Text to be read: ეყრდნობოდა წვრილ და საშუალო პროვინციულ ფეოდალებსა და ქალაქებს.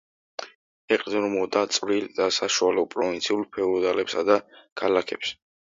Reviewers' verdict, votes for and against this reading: accepted, 2, 1